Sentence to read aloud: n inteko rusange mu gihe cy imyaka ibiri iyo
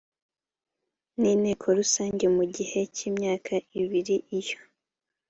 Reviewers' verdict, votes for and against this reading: accepted, 2, 0